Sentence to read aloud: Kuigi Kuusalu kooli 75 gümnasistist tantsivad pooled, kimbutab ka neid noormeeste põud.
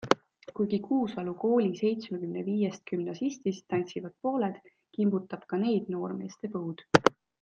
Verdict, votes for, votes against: rejected, 0, 2